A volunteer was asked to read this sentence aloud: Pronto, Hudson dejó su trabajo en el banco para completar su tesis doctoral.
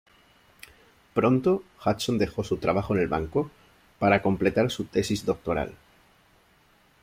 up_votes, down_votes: 2, 0